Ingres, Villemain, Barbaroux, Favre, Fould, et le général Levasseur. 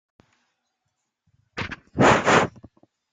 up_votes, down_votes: 0, 2